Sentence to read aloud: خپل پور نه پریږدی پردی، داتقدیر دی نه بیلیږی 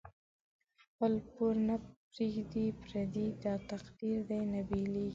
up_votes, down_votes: 1, 2